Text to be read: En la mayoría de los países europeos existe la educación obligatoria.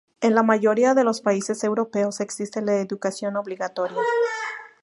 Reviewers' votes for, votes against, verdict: 2, 0, accepted